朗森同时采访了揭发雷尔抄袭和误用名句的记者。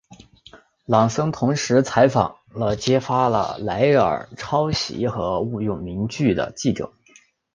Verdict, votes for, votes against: accepted, 4, 2